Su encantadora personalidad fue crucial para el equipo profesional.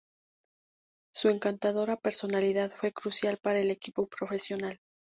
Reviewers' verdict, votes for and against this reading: accepted, 2, 0